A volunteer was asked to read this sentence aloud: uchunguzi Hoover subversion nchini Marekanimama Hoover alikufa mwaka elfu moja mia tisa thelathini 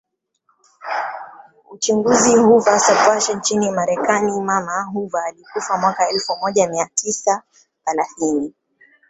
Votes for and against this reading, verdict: 0, 2, rejected